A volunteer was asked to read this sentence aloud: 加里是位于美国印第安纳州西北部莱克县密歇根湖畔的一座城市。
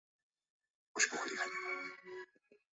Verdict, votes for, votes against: rejected, 0, 2